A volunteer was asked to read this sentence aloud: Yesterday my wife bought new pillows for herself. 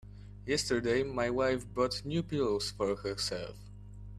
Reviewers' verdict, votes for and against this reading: accepted, 2, 0